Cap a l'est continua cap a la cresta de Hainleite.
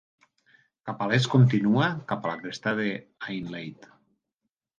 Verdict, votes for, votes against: accepted, 2, 0